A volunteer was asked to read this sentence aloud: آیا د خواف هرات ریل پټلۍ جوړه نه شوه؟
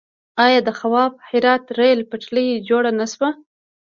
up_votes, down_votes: 2, 1